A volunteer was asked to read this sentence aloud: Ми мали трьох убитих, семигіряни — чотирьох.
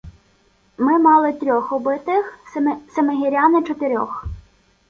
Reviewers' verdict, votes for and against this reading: rejected, 1, 2